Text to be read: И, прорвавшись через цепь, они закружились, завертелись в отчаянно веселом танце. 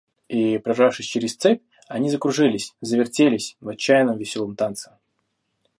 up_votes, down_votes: 1, 2